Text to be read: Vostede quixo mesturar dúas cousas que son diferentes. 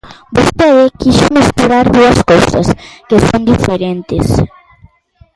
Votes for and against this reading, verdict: 0, 2, rejected